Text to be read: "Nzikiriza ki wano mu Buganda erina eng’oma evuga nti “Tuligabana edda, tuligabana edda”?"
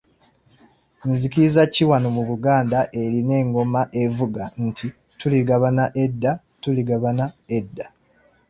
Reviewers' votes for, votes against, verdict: 2, 0, accepted